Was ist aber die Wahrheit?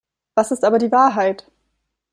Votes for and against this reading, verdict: 2, 0, accepted